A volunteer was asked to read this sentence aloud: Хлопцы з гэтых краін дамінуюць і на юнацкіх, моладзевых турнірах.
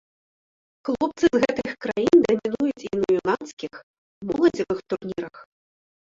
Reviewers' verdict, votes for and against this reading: rejected, 0, 2